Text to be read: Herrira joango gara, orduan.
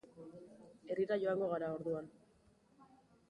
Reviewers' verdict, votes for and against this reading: accepted, 2, 0